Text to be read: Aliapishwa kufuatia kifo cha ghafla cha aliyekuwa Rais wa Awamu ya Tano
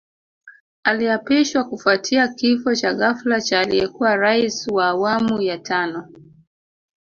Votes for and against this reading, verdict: 1, 2, rejected